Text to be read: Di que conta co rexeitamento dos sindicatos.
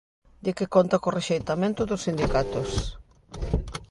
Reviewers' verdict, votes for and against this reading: accepted, 3, 0